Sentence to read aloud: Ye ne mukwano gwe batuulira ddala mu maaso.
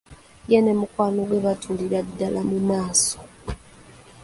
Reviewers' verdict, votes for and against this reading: rejected, 1, 2